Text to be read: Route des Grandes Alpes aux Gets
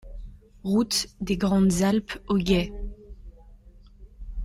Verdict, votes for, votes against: rejected, 1, 2